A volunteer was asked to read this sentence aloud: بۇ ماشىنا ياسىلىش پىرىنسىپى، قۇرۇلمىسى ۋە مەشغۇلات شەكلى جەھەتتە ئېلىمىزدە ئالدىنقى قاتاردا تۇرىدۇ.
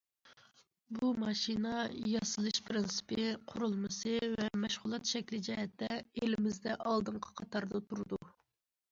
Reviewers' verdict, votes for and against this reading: accepted, 2, 0